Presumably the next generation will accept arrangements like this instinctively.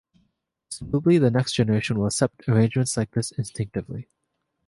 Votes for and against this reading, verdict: 2, 1, accepted